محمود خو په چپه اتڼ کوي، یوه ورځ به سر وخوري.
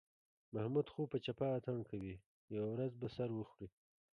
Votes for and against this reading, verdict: 2, 1, accepted